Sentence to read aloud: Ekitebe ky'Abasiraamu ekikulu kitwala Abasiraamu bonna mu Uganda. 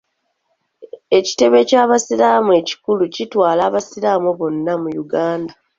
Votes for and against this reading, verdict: 2, 0, accepted